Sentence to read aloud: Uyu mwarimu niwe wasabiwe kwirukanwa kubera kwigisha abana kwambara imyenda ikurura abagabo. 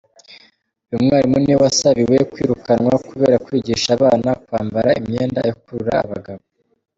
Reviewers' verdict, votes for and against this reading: rejected, 0, 2